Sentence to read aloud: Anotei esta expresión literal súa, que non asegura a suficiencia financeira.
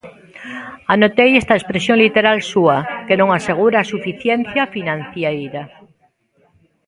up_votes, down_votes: 0, 2